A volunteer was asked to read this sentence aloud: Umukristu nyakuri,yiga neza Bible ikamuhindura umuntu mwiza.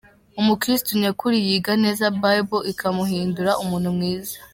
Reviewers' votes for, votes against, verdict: 2, 0, accepted